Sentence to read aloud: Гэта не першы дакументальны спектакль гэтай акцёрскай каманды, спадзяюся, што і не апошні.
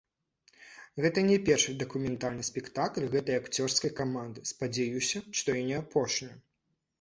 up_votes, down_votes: 0, 2